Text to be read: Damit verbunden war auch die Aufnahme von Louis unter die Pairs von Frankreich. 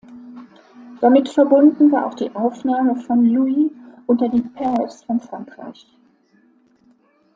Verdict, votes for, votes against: rejected, 1, 2